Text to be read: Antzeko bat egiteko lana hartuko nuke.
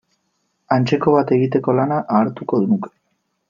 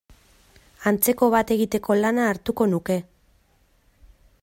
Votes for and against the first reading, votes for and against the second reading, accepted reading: 0, 2, 2, 0, second